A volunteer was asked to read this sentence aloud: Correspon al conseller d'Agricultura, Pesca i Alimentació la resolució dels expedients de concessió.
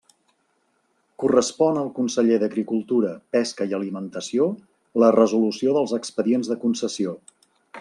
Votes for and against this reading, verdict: 3, 0, accepted